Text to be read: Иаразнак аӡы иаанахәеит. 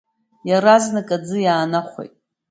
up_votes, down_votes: 2, 1